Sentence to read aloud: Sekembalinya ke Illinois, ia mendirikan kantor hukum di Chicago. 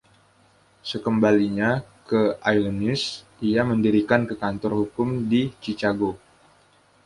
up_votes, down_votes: 1, 2